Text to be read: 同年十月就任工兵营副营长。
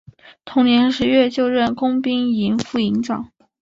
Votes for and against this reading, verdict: 6, 0, accepted